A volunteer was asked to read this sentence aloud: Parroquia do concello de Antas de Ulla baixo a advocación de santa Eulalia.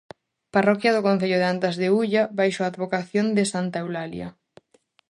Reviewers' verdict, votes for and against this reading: accepted, 2, 0